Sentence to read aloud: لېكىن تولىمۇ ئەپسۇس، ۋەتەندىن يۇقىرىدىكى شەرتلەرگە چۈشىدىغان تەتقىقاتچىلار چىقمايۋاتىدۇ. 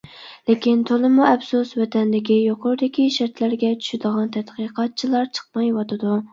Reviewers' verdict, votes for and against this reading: rejected, 0, 2